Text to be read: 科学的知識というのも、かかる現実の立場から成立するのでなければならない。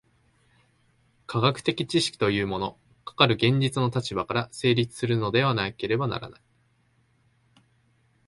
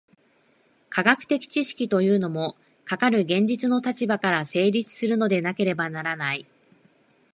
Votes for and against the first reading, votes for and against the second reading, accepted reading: 0, 2, 2, 0, second